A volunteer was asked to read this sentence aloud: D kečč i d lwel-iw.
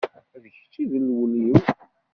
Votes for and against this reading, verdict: 0, 2, rejected